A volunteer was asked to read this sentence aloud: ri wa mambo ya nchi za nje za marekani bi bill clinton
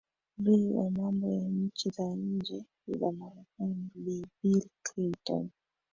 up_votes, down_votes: 1, 2